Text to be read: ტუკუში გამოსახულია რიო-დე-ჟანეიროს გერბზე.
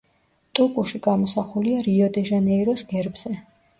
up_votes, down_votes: 2, 0